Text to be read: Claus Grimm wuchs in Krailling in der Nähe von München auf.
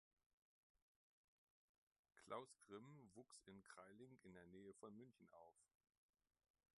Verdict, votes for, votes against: rejected, 1, 2